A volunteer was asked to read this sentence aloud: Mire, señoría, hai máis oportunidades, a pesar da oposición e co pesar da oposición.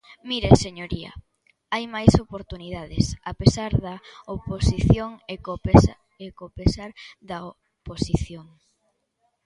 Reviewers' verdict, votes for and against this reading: rejected, 0, 2